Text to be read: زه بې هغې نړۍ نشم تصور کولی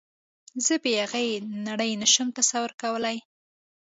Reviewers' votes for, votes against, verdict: 2, 0, accepted